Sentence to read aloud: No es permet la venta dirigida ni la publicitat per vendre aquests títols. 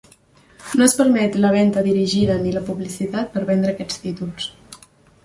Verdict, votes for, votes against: accepted, 3, 1